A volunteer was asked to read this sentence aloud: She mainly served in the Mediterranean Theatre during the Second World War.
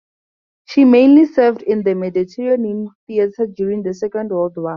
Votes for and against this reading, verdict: 0, 2, rejected